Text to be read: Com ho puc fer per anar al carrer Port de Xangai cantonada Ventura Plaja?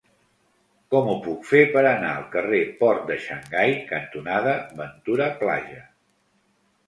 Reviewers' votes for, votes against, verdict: 0, 2, rejected